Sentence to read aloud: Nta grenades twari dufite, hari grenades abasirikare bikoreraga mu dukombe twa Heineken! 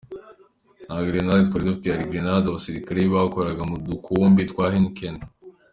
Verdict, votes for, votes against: accepted, 2, 0